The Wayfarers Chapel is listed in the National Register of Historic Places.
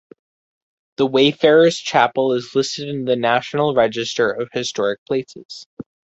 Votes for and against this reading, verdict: 4, 0, accepted